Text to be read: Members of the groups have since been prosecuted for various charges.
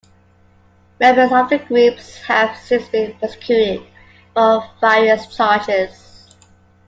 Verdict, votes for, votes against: accepted, 2, 1